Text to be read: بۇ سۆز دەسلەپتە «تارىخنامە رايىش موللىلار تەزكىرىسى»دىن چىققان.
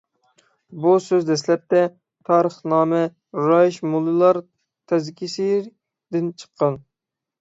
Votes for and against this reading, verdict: 0, 6, rejected